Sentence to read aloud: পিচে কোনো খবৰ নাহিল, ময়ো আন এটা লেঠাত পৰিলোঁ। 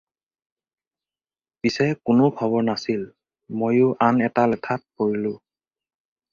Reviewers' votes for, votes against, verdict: 2, 4, rejected